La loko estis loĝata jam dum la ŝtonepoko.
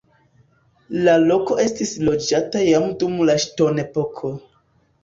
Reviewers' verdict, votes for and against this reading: accepted, 2, 0